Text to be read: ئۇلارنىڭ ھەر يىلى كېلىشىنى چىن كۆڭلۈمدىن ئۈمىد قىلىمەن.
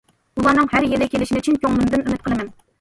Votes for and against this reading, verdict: 2, 0, accepted